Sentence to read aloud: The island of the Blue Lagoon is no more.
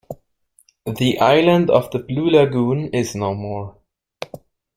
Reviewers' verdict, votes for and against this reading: accepted, 2, 0